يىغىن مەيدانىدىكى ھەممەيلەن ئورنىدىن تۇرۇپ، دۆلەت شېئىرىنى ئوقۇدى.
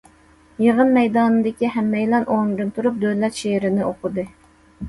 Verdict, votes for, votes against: accepted, 2, 0